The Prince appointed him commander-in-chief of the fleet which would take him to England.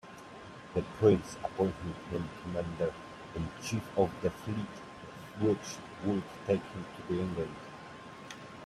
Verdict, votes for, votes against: accepted, 2, 1